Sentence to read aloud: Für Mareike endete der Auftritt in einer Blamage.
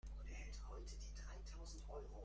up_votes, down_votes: 0, 2